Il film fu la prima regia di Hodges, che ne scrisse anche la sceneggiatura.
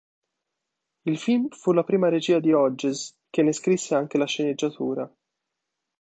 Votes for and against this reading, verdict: 2, 0, accepted